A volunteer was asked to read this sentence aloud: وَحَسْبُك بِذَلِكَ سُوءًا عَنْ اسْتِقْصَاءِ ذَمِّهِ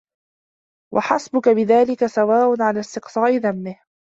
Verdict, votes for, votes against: rejected, 0, 2